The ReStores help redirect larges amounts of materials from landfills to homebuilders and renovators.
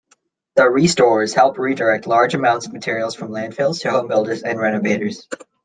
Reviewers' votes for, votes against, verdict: 1, 2, rejected